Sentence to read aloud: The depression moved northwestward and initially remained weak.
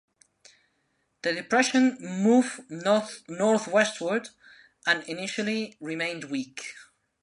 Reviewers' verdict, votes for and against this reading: rejected, 0, 2